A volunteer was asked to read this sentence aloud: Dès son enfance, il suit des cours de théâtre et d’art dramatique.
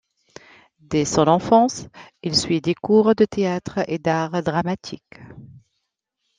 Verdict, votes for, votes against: accepted, 2, 0